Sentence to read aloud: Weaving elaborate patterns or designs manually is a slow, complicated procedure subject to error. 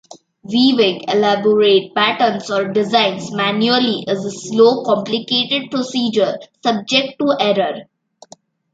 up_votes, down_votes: 2, 0